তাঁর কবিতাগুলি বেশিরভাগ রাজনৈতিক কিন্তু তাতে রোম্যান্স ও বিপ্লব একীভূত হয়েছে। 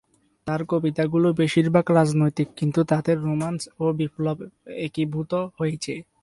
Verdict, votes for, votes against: accepted, 2, 0